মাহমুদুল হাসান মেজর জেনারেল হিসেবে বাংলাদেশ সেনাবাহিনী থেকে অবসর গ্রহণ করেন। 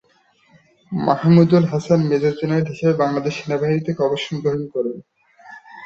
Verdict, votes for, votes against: accepted, 2, 0